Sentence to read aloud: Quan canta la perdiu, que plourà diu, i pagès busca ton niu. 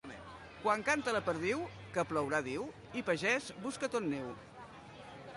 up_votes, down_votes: 1, 2